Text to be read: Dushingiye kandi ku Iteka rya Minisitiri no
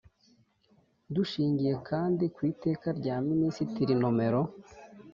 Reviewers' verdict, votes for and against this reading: rejected, 0, 2